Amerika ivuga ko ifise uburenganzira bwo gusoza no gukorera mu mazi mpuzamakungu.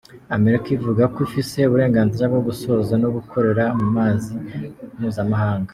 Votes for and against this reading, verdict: 0, 2, rejected